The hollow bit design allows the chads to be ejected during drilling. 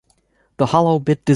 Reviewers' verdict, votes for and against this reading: rejected, 1, 2